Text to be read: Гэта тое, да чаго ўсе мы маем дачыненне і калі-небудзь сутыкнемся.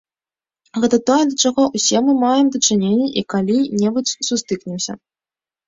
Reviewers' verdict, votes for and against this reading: rejected, 0, 2